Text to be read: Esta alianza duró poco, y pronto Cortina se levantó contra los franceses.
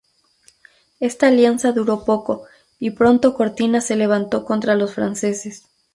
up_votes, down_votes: 2, 2